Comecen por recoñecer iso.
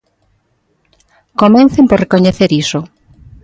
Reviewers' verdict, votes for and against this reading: rejected, 1, 2